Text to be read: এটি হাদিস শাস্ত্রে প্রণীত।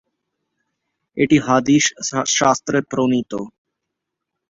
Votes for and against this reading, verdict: 0, 3, rejected